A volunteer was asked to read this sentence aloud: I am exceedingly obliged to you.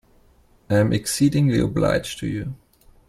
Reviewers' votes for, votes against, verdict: 2, 0, accepted